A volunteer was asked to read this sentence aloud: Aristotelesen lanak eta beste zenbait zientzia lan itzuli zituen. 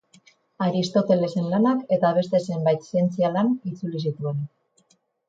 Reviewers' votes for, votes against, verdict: 4, 0, accepted